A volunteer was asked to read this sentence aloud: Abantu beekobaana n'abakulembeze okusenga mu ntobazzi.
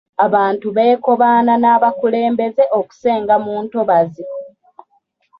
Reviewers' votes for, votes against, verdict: 2, 0, accepted